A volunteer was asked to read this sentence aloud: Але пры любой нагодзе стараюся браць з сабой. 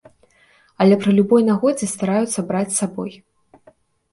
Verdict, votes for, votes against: rejected, 0, 2